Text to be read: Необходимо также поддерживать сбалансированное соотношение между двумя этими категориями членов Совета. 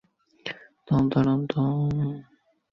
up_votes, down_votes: 0, 2